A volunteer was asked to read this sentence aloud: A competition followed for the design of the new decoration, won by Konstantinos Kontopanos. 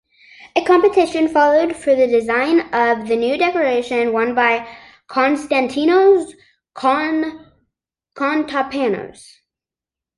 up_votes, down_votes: 1, 2